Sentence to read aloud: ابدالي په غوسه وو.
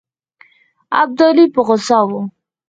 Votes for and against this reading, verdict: 0, 4, rejected